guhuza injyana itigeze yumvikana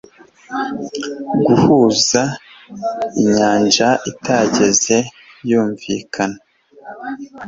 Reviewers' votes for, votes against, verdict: 1, 2, rejected